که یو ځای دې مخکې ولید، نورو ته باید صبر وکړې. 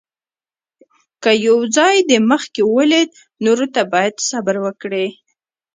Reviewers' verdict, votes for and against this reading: accepted, 2, 0